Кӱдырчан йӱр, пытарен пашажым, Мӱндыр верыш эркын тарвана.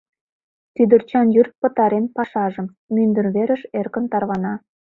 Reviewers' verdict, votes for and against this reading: accepted, 2, 0